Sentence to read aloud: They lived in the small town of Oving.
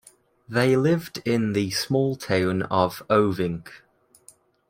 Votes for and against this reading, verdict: 2, 0, accepted